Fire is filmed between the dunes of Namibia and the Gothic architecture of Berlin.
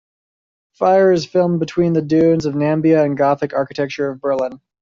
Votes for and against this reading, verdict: 1, 2, rejected